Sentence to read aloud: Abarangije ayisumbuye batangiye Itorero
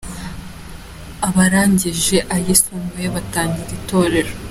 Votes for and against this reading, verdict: 3, 1, accepted